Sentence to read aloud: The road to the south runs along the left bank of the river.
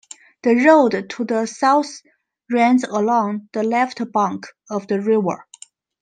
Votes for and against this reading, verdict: 2, 0, accepted